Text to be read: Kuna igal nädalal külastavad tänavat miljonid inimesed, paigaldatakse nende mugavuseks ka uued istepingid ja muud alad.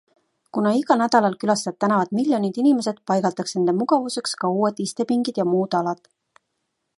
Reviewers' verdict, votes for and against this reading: accepted, 2, 0